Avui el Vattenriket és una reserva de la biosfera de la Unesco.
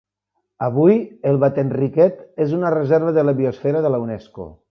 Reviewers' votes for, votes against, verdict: 2, 0, accepted